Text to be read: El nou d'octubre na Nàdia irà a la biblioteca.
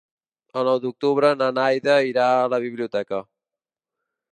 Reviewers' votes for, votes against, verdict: 0, 2, rejected